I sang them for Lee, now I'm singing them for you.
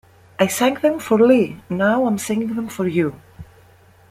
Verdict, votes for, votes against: accepted, 2, 0